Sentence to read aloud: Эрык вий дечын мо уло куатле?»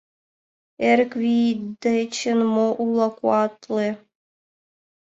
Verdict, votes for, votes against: accepted, 2, 0